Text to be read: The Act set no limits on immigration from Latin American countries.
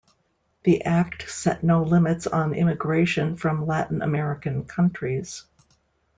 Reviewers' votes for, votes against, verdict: 2, 0, accepted